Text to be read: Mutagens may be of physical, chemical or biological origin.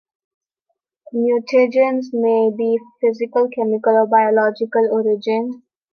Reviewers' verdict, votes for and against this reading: rejected, 0, 2